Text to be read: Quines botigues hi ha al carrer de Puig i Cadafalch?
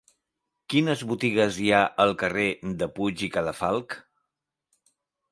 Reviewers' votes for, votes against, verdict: 2, 0, accepted